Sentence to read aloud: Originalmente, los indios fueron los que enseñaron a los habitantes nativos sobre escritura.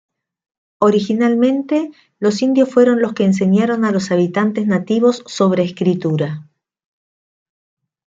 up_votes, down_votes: 2, 0